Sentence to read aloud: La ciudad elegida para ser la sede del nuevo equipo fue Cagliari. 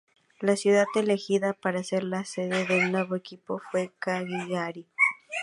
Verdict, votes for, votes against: rejected, 0, 2